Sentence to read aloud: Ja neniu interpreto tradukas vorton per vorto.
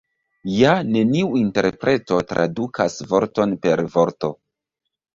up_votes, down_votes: 0, 2